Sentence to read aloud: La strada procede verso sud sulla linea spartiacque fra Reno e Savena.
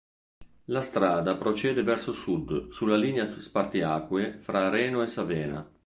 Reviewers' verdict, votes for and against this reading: rejected, 2, 3